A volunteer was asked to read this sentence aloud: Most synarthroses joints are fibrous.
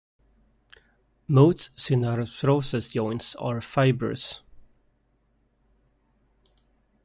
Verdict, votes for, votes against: rejected, 1, 2